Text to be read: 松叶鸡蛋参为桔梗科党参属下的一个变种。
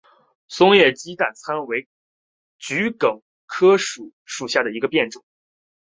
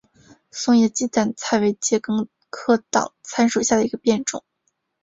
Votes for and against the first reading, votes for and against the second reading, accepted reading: 1, 2, 2, 1, second